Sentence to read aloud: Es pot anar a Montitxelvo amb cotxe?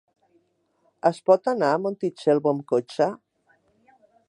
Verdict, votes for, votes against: accepted, 3, 0